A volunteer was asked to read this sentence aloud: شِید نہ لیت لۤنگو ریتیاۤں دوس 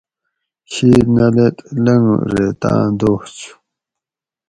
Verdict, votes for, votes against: rejected, 2, 2